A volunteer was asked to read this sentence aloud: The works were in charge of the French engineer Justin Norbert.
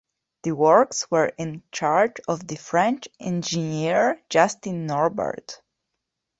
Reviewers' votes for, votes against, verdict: 2, 0, accepted